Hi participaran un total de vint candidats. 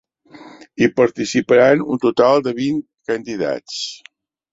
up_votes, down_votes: 3, 0